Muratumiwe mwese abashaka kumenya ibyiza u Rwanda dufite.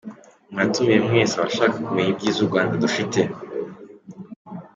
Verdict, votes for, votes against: accepted, 2, 0